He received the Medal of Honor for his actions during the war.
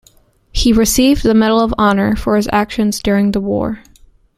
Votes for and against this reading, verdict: 2, 0, accepted